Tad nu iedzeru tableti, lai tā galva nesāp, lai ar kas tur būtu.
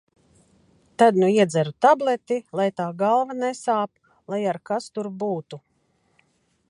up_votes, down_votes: 2, 0